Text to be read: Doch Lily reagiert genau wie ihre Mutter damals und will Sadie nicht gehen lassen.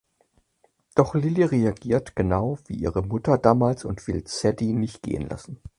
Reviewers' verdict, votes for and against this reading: accepted, 4, 0